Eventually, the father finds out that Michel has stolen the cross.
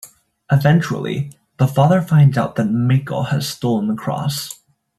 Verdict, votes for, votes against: rejected, 0, 2